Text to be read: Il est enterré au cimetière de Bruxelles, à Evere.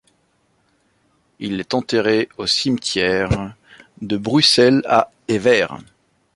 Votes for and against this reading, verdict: 2, 0, accepted